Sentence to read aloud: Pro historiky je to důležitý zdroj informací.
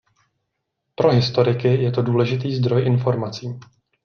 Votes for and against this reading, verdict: 2, 0, accepted